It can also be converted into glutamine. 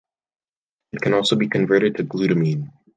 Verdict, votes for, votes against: rejected, 1, 2